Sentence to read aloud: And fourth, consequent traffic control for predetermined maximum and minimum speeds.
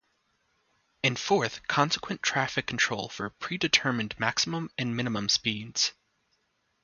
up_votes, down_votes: 2, 0